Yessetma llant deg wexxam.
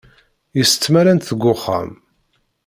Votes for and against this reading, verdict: 1, 2, rejected